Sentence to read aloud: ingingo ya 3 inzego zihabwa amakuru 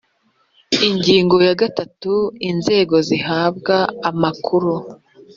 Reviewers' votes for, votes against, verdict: 0, 2, rejected